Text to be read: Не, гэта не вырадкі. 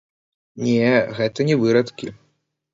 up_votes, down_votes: 0, 2